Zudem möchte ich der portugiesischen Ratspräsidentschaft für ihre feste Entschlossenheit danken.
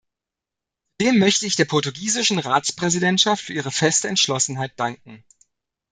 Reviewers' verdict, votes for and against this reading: rejected, 0, 2